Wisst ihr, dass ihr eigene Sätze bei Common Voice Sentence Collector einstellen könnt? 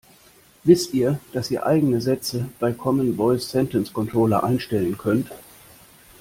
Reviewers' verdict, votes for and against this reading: rejected, 0, 2